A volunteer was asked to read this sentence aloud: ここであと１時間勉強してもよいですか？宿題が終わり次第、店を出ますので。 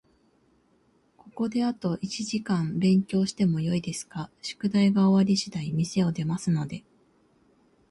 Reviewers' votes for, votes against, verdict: 0, 2, rejected